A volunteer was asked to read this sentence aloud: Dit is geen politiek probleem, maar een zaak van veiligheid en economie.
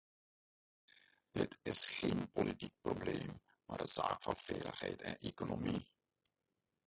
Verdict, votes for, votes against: rejected, 0, 2